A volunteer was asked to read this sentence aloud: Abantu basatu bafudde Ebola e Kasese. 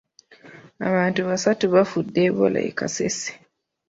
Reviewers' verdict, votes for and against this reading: accepted, 3, 0